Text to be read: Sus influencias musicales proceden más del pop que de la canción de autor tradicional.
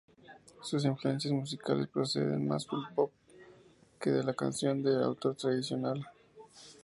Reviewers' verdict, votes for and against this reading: accepted, 4, 0